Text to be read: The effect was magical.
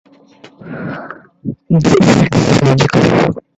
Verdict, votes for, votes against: rejected, 0, 2